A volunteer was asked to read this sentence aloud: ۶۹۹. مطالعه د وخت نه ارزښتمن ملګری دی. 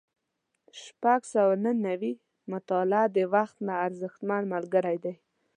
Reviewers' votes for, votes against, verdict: 0, 2, rejected